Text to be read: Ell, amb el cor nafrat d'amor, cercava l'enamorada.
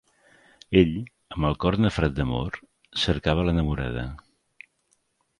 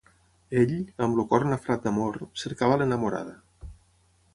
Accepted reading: first